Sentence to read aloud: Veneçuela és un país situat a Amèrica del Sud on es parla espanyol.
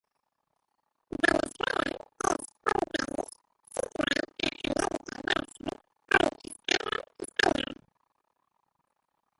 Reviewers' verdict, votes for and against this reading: rejected, 0, 2